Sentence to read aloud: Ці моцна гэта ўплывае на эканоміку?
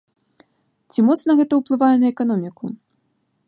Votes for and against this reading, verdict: 2, 0, accepted